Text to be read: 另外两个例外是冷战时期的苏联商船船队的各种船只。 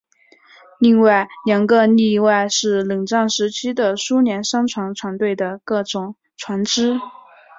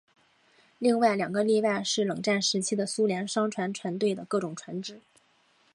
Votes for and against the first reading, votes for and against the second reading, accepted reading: 1, 3, 4, 0, second